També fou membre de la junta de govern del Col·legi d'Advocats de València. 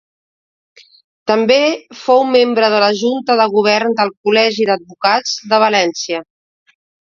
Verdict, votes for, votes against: accepted, 2, 0